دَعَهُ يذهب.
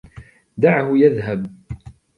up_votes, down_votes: 1, 2